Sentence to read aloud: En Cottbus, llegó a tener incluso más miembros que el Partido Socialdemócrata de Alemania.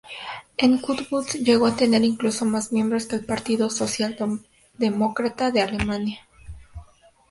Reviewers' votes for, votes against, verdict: 2, 0, accepted